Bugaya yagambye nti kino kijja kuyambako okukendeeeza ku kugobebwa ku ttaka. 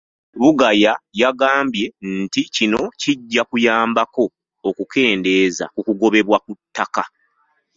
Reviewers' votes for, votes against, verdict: 1, 2, rejected